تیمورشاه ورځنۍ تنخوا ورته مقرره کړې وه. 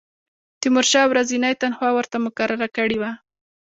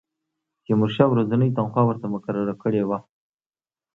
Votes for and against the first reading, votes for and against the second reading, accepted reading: 0, 2, 2, 0, second